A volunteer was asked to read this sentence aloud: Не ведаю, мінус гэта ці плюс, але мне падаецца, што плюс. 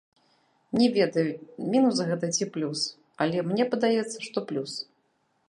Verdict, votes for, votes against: rejected, 1, 2